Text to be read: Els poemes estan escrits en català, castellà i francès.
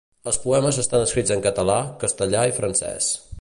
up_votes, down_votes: 2, 0